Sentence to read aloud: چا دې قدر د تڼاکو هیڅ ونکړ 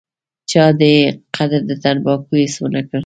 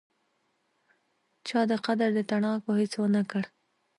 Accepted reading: second